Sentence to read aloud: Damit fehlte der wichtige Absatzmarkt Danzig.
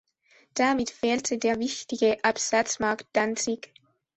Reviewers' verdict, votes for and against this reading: accepted, 2, 0